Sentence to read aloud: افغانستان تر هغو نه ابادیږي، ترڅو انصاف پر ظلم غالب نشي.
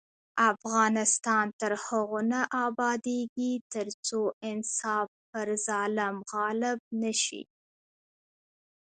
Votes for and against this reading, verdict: 2, 0, accepted